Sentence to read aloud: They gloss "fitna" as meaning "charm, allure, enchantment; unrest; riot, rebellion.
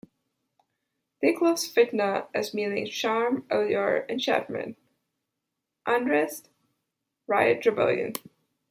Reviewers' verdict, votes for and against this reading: accepted, 2, 0